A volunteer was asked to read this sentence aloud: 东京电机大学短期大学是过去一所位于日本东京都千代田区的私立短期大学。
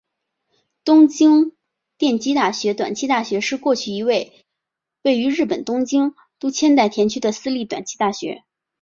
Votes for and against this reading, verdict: 2, 1, accepted